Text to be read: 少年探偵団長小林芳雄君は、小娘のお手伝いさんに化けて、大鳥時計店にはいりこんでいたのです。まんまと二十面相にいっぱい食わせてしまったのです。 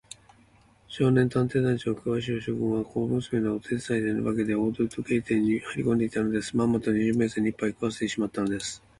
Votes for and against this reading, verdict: 2, 1, accepted